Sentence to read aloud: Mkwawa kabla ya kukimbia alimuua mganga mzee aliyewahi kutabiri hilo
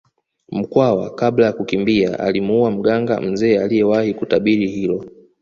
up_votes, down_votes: 2, 0